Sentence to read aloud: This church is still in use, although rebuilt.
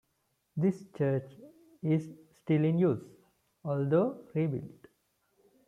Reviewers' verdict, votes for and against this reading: accepted, 2, 1